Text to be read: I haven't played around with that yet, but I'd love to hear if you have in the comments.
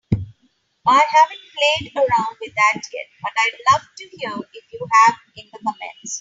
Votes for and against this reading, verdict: 3, 0, accepted